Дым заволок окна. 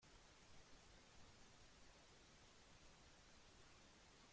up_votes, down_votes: 0, 2